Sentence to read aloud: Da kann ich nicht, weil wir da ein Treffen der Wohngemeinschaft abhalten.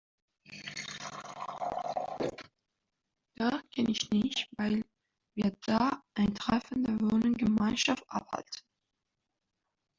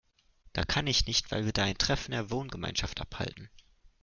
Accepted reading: second